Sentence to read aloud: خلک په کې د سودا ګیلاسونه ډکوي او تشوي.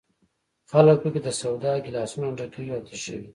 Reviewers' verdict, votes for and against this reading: rejected, 0, 2